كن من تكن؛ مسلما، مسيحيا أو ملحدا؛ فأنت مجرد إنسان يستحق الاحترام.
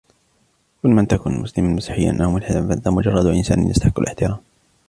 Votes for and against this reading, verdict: 0, 2, rejected